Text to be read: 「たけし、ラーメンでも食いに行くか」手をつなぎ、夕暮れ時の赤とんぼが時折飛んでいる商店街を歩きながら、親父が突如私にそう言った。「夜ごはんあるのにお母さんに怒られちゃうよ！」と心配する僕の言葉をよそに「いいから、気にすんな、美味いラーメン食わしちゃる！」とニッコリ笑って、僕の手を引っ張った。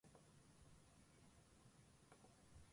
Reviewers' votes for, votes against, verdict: 0, 5, rejected